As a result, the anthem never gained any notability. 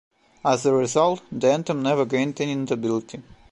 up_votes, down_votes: 0, 2